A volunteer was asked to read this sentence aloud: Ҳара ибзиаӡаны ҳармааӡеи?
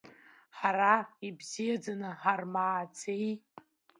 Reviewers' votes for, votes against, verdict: 2, 0, accepted